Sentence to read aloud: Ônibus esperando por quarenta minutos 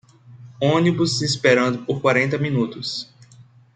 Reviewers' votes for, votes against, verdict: 2, 0, accepted